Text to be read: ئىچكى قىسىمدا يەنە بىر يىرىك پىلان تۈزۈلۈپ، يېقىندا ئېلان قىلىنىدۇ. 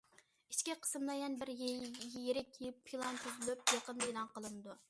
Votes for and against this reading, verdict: 0, 2, rejected